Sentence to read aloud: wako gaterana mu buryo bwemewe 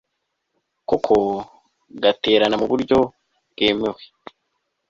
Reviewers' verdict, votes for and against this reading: rejected, 1, 2